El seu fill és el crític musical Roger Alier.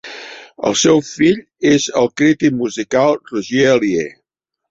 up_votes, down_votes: 2, 0